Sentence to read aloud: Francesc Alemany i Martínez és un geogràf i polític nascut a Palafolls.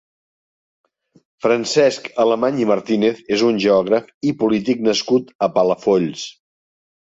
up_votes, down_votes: 3, 0